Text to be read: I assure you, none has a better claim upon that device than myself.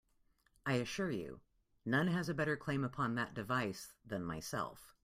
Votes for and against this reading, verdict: 2, 0, accepted